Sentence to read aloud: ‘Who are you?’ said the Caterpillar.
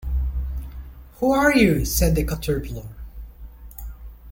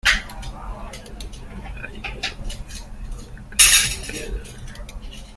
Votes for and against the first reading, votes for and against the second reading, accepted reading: 2, 0, 0, 2, first